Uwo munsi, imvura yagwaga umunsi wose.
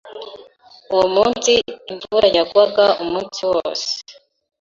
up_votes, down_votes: 2, 0